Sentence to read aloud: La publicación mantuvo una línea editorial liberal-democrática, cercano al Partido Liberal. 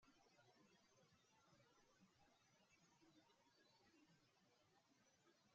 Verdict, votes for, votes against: rejected, 0, 2